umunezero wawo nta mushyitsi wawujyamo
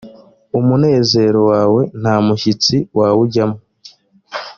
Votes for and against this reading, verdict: 1, 2, rejected